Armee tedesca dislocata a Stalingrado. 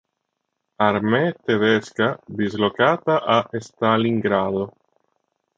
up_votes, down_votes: 2, 0